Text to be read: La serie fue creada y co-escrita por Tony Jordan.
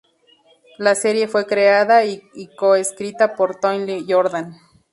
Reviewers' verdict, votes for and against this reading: rejected, 0, 2